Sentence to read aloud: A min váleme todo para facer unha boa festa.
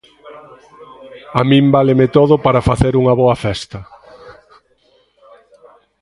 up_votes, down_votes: 0, 2